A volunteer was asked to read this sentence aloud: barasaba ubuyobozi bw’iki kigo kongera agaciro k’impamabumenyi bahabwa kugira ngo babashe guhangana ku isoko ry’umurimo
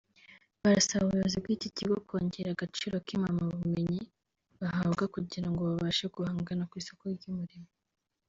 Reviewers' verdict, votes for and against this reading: rejected, 1, 2